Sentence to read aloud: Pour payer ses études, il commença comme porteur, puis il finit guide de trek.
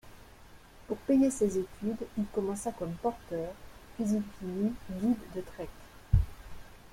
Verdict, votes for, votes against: accepted, 2, 0